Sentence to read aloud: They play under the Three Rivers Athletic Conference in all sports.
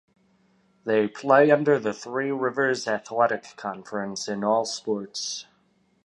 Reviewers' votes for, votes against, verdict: 2, 0, accepted